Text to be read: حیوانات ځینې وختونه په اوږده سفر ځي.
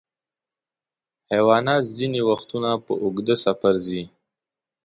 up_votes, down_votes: 2, 0